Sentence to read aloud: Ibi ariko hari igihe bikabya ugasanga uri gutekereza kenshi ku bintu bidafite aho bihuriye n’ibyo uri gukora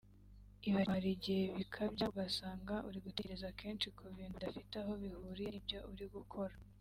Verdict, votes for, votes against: rejected, 2, 3